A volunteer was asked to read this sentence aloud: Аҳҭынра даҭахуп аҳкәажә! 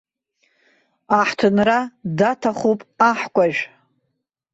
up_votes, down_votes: 0, 2